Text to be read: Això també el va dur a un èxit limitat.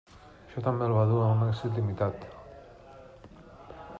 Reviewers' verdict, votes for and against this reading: rejected, 1, 2